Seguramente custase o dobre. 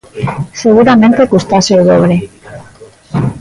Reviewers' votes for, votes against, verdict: 1, 2, rejected